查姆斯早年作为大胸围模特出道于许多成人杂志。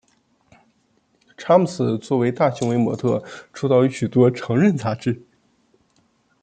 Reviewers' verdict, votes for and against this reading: rejected, 0, 2